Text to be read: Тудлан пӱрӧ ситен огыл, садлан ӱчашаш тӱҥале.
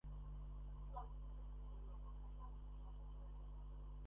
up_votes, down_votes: 0, 2